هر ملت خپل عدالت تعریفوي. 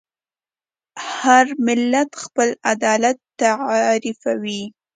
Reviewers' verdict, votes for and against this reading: accepted, 2, 0